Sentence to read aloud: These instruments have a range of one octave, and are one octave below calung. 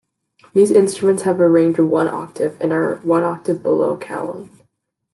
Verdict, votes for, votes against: accepted, 2, 0